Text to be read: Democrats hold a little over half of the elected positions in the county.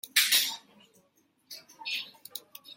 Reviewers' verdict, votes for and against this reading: rejected, 0, 2